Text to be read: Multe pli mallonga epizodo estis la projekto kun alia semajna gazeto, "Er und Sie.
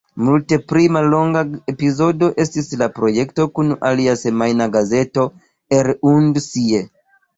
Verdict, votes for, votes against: rejected, 1, 2